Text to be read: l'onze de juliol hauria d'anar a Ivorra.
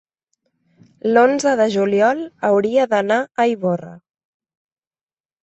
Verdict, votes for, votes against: accepted, 3, 0